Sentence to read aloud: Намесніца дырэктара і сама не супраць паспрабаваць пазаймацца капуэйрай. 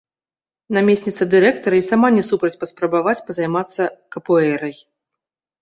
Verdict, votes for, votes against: rejected, 1, 2